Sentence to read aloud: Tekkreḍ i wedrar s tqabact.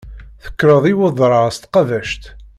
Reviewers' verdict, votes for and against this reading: accepted, 2, 1